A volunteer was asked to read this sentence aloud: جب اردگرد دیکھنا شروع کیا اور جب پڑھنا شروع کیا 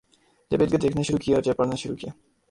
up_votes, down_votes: 0, 2